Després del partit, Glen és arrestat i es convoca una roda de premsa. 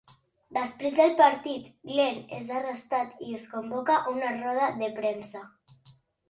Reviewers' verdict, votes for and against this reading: accepted, 2, 0